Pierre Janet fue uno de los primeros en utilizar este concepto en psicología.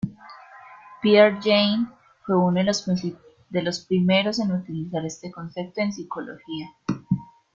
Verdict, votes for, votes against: rejected, 0, 2